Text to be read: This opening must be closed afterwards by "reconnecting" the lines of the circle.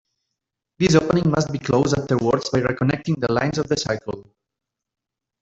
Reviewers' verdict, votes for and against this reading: rejected, 1, 2